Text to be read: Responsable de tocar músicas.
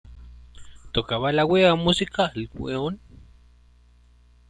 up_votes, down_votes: 0, 2